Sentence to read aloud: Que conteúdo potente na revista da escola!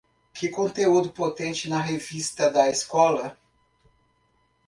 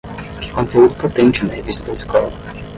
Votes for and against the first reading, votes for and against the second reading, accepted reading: 2, 0, 5, 5, first